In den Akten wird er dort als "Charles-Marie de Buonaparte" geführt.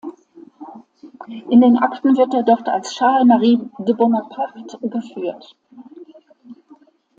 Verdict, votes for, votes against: accepted, 2, 0